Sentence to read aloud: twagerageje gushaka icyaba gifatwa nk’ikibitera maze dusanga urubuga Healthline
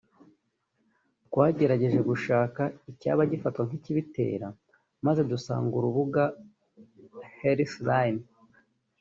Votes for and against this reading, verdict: 0, 2, rejected